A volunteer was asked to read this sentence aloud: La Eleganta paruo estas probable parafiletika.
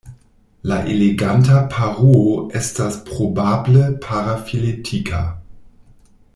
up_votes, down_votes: 2, 0